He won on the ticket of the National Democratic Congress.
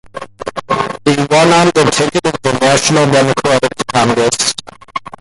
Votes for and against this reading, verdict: 2, 1, accepted